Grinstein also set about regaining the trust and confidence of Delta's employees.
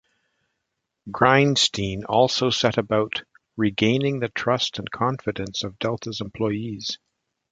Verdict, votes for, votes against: accepted, 2, 1